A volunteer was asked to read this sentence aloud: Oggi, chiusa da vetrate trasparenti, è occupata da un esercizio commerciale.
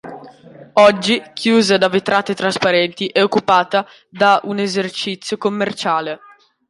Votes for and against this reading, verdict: 2, 0, accepted